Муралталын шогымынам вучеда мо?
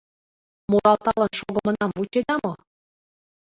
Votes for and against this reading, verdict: 0, 2, rejected